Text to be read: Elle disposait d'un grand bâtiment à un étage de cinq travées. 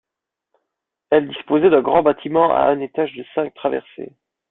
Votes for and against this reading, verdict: 1, 2, rejected